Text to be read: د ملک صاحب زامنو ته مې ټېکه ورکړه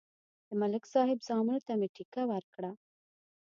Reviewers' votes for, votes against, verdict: 2, 0, accepted